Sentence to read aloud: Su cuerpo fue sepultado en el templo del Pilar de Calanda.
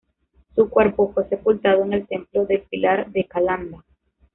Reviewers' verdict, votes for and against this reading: accepted, 2, 0